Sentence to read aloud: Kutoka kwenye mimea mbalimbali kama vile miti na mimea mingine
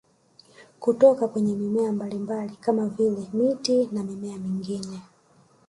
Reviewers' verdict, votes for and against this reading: accepted, 4, 1